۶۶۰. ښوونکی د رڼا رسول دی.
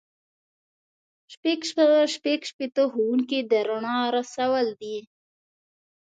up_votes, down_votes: 0, 2